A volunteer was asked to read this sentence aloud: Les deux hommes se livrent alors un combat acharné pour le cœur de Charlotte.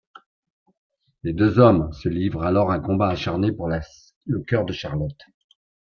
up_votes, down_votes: 0, 2